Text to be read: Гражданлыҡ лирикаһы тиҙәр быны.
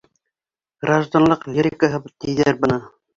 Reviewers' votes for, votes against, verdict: 2, 0, accepted